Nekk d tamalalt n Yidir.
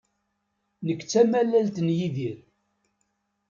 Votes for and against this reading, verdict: 2, 0, accepted